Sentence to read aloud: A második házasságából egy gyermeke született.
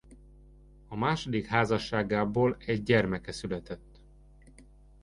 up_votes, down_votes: 2, 0